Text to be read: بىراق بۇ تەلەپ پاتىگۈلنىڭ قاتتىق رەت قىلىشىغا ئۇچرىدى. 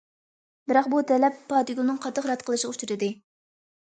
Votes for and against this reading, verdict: 2, 0, accepted